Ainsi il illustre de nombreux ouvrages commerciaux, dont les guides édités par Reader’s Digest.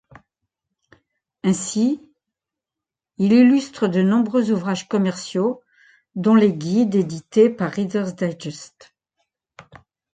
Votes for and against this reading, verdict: 2, 0, accepted